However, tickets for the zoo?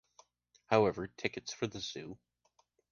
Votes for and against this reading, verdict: 3, 0, accepted